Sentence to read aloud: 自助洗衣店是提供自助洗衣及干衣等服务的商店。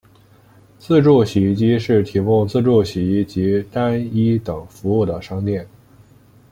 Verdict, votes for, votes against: rejected, 1, 2